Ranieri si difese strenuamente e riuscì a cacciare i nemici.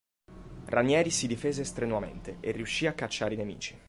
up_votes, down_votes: 4, 0